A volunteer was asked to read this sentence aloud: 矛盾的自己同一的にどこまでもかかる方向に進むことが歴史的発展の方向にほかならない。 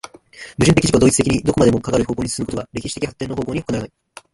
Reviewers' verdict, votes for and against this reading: rejected, 1, 2